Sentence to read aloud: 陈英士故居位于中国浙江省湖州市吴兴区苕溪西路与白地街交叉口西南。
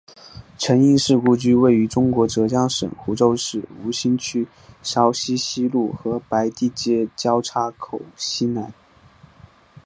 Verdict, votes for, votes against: accepted, 3, 0